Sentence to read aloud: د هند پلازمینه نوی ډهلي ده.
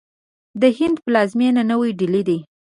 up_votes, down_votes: 2, 0